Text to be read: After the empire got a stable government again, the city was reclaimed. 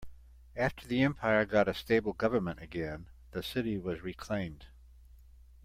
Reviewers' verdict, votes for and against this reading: accepted, 2, 0